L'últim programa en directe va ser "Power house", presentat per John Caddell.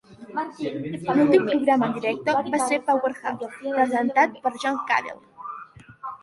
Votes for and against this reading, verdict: 0, 2, rejected